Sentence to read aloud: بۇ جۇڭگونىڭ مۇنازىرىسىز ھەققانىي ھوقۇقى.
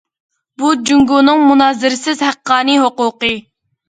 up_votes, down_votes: 2, 0